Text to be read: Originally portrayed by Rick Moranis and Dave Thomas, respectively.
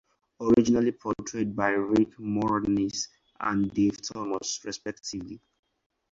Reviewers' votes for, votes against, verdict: 2, 0, accepted